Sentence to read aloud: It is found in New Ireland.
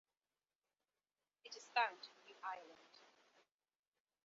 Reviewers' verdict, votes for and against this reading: accepted, 2, 1